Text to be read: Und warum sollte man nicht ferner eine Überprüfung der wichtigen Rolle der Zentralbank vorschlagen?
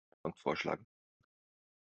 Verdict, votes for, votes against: rejected, 0, 2